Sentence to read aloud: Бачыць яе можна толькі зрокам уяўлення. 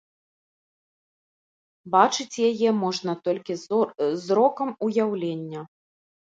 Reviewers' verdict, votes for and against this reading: rejected, 0, 2